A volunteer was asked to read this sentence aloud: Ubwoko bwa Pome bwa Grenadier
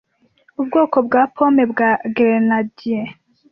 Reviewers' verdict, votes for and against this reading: accepted, 2, 1